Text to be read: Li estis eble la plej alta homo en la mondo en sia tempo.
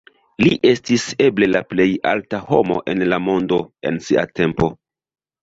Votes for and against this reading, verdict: 1, 2, rejected